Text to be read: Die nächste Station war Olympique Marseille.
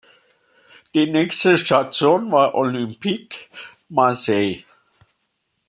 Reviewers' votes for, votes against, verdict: 2, 1, accepted